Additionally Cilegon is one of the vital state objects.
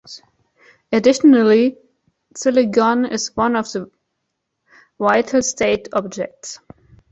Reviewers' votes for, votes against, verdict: 1, 2, rejected